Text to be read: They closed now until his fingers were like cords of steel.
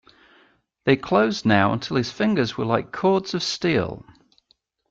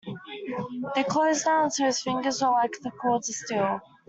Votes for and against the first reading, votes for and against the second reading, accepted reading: 2, 0, 0, 2, first